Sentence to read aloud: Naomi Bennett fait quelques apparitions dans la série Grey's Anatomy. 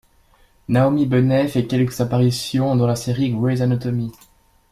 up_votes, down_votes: 2, 1